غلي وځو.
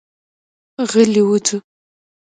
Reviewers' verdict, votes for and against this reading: rejected, 1, 2